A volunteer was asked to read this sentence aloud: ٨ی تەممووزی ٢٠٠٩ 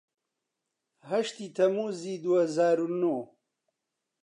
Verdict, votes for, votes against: rejected, 0, 2